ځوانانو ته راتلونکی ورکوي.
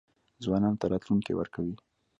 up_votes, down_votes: 2, 0